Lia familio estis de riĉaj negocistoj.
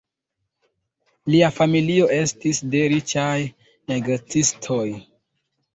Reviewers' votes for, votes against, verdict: 2, 1, accepted